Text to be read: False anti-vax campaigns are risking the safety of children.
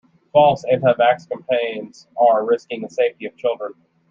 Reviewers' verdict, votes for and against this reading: accepted, 2, 0